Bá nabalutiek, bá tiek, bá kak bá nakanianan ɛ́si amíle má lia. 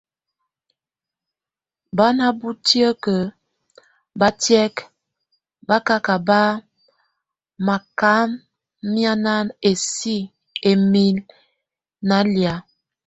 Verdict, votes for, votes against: rejected, 0, 2